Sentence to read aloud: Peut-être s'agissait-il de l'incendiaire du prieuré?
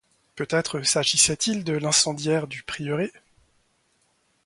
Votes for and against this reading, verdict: 2, 0, accepted